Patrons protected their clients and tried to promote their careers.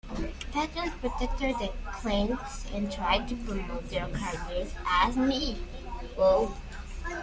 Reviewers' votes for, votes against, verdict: 0, 2, rejected